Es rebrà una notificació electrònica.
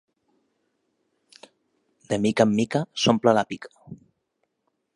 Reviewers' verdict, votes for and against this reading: rejected, 0, 2